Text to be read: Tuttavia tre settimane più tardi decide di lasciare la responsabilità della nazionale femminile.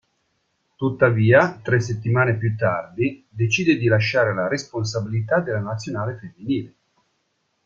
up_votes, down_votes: 2, 0